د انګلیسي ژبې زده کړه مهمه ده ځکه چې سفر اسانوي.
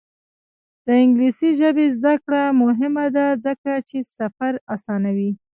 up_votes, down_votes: 2, 0